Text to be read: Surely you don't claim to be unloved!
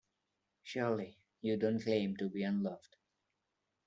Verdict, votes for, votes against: accepted, 2, 0